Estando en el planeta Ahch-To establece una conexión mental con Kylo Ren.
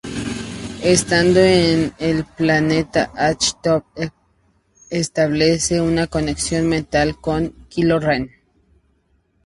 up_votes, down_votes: 0, 2